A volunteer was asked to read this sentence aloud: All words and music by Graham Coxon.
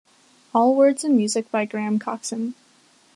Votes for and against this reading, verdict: 3, 0, accepted